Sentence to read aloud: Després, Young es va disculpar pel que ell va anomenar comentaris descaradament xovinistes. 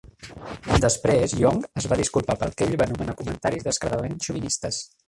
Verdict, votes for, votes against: rejected, 0, 2